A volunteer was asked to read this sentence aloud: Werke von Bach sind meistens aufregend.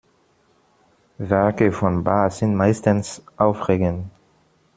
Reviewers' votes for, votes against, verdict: 0, 2, rejected